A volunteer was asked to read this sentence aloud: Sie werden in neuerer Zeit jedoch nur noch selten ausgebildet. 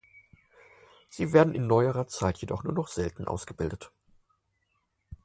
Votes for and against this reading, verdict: 4, 0, accepted